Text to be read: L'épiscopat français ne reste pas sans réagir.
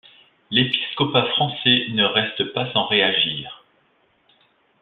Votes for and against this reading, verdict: 2, 0, accepted